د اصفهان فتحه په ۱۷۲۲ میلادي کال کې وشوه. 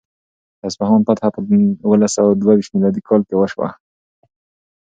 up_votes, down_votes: 0, 2